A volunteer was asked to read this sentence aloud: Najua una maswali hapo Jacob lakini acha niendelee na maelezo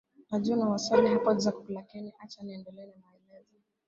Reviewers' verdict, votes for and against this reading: rejected, 0, 3